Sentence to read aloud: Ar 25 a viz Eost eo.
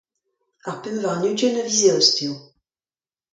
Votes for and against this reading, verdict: 0, 2, rejected